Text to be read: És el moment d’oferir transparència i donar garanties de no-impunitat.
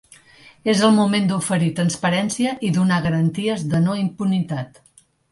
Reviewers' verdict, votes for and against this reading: accepted, 2, 0